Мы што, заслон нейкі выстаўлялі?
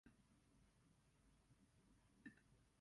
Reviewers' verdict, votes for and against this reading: rejected, 0, 2